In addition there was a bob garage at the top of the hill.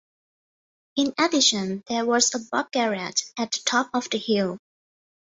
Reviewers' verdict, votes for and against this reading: rejected, 0, 2